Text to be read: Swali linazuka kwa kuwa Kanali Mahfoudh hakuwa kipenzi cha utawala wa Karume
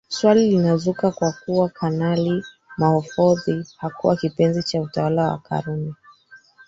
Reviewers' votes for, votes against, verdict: 2, 3, rejected